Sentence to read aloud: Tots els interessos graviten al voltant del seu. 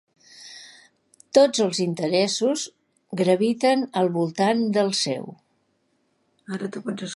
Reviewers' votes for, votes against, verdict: 1, 2, rejected